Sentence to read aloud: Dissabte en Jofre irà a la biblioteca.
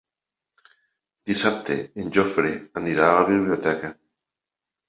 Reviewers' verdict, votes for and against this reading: rejected, 0, 2